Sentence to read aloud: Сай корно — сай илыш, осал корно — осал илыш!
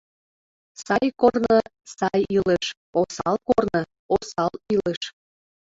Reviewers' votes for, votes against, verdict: 1, 2, rejected